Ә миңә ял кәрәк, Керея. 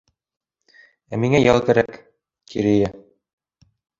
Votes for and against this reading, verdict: 2, 0, accepted